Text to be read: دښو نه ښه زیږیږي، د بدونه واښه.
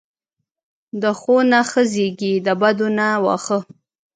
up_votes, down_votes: 0, 2